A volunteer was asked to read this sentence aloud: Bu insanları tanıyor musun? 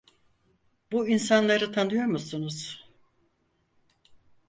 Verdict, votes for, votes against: rejected, 2, 4